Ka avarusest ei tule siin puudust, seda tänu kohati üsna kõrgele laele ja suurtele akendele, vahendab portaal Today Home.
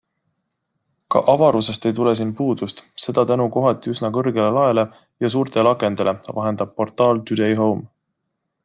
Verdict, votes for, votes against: accepted, 2, 0